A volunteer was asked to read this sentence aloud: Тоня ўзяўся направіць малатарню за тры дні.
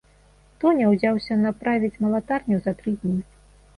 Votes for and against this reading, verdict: 2, 0, accepted